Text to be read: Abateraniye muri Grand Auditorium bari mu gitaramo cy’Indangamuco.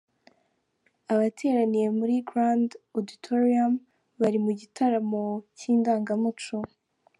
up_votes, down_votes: 2, 0